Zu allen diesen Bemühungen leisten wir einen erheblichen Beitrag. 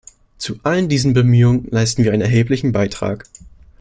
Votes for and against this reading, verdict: 2, 0, accepted